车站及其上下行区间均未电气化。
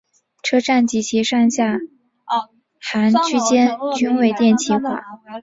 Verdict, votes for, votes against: accepted, 5, 2